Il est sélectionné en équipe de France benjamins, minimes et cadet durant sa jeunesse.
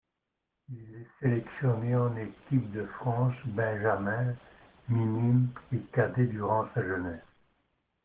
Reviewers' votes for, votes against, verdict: 2, 0, accepted